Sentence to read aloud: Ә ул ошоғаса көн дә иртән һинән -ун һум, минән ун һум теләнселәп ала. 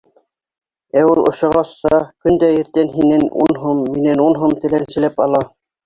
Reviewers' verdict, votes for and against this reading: rejected, 0, 2